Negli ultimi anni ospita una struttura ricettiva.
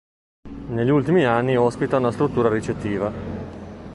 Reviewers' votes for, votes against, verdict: 2, 0, accepted